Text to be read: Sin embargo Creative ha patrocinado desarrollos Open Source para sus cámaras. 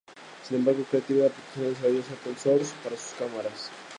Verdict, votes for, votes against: rejected, 0, 2